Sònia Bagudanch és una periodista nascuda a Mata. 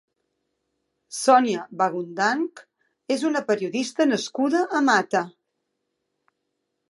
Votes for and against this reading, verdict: 3, 2, accepted